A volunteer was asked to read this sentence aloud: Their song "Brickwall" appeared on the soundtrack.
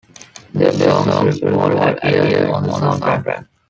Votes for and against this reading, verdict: 0, 2, rejected